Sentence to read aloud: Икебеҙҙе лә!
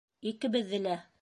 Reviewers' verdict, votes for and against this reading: accepted, 2, 0